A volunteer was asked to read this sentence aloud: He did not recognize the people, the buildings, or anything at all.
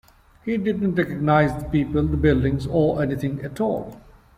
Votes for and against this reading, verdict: 0, 2, rejected